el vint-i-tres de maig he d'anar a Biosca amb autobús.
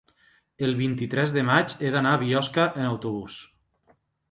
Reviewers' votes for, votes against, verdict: 1, 2, rejected